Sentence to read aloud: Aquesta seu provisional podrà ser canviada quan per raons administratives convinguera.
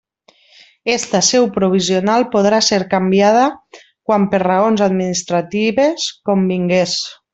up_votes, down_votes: 0, 2